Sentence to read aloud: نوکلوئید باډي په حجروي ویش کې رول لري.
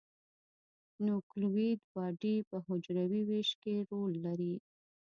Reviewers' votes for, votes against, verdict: 1, 2, rejected